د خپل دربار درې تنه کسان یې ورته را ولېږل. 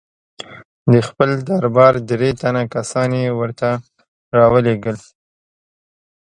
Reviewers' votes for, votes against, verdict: 2, 0, accepted